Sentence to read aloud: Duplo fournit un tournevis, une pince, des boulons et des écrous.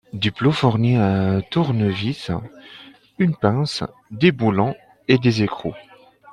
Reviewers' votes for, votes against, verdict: 2, 0, accepted